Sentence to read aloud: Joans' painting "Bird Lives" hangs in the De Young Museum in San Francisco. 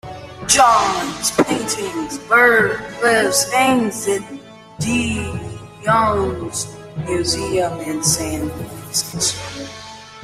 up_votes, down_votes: 0, 2